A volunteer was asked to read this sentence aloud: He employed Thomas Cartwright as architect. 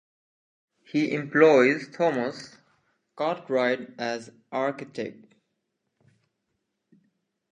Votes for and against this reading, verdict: 0, 2, rejected